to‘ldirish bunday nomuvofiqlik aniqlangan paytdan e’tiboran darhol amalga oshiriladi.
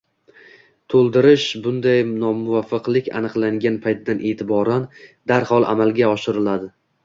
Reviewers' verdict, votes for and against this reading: rejected, 1, 2